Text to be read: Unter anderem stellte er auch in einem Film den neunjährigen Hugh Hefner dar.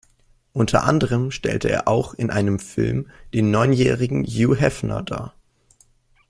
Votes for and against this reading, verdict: 2, 1, accepted